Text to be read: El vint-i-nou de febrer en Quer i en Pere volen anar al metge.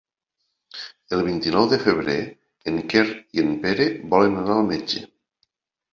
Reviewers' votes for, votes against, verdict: 4, 0, accepted